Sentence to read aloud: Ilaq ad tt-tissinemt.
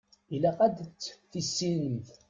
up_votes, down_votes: 0, 2